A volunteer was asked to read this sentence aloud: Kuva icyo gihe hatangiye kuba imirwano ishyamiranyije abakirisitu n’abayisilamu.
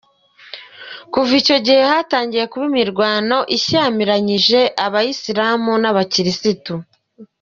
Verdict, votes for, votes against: rejected, 1, 2